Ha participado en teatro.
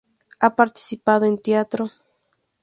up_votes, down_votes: 2, 2